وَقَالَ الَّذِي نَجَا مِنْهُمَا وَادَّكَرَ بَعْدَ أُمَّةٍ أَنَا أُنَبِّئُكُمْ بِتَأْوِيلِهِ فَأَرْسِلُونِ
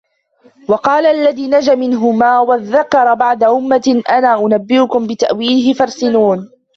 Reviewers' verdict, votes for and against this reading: accepted, 2, 0